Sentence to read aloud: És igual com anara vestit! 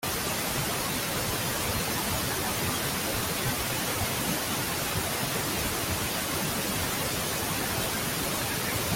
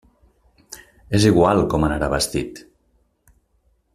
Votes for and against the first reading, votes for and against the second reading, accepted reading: 0, 2, 2, 0, second